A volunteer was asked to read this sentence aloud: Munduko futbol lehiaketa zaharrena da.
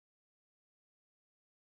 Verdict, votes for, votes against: rejected, 0, 4